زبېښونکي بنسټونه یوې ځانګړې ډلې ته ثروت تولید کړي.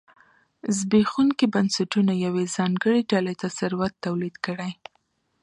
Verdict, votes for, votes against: accepted, 2, 0